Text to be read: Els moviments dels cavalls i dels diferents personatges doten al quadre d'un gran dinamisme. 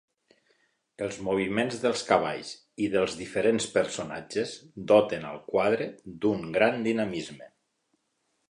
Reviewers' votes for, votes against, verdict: 2, 0, accepted